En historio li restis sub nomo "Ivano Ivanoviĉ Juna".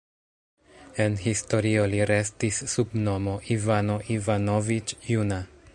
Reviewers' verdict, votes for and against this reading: rejected, 1, 2